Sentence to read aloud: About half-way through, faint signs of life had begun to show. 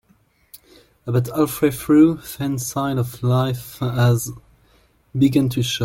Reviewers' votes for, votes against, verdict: 0, 2, rejected